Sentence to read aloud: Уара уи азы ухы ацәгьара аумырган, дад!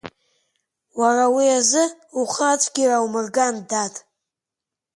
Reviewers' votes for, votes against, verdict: 6, 0, accepted